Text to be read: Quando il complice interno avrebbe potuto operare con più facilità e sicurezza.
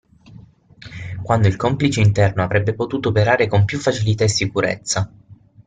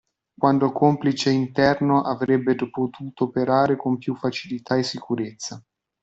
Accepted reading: first